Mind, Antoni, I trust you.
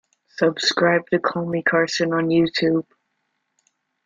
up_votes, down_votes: 0, 2